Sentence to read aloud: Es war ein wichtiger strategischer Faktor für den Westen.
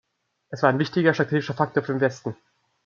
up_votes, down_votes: 1, 2